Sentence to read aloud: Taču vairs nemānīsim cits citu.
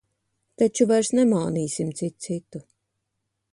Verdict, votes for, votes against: accepted, 2, 0